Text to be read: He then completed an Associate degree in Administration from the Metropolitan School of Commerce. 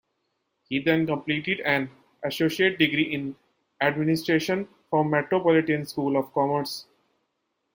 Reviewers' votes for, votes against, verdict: 0, 2, rejected